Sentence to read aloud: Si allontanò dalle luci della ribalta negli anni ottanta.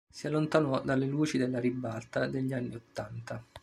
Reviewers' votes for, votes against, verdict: 0, 2, rejected